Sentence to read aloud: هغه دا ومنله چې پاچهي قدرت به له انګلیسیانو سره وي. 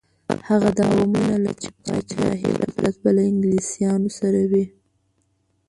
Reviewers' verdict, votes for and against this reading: rejected, 0, 2